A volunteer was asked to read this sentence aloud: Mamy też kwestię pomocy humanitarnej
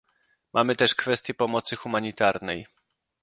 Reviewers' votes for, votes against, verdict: 2, 0, accepted